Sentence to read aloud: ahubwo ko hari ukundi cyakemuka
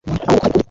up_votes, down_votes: 0, 2